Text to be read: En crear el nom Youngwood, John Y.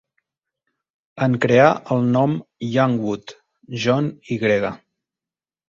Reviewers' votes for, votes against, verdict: 0, 2, rejected